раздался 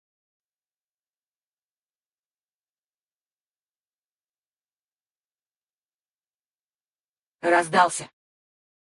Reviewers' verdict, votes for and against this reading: rejected, 0, 4